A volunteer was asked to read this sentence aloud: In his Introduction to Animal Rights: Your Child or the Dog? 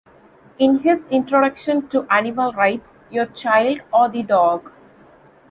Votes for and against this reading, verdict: 2, 0, accepted